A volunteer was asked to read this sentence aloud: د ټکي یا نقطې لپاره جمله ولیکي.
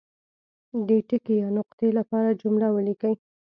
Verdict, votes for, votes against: accepted, 3, 0